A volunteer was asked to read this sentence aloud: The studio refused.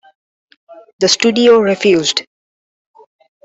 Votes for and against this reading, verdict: 2, 1, accepted